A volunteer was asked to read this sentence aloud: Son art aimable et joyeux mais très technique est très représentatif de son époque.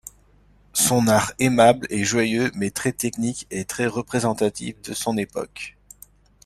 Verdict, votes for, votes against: accepted, 2, 0